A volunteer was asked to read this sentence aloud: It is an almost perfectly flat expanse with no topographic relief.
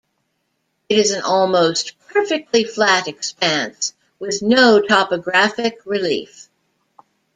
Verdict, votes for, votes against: accepted, 2, 0